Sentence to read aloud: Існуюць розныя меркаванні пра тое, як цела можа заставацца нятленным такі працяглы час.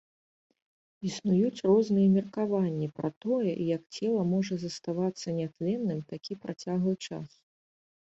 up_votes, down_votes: 2, 0